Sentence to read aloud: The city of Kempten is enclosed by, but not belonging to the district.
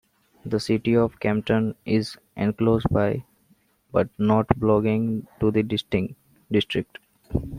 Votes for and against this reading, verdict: 2, 0, accepted